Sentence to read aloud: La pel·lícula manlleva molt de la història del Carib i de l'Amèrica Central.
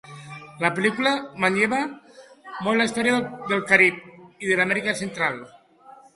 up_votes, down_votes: 0, 2